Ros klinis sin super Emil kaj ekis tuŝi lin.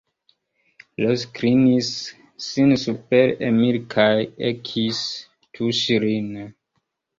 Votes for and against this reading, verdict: 0, 2, rejected